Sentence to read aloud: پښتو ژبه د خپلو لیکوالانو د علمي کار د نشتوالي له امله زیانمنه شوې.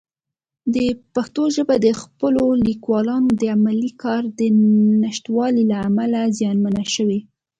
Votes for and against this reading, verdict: 2, 0, accepted